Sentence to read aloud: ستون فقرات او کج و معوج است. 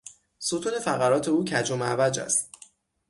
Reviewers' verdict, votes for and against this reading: accepted, 6, 0